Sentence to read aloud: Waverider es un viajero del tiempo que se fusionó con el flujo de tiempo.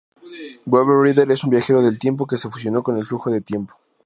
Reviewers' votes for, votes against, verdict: 2, 0, accepted